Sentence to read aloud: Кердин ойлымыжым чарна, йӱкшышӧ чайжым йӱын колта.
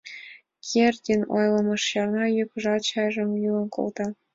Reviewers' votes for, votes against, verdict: 0, 2, rejected